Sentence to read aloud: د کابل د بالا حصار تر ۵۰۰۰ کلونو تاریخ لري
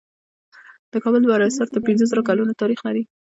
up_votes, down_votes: 0, 2